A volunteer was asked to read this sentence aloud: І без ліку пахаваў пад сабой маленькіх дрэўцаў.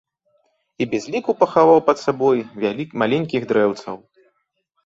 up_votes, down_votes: 0, 2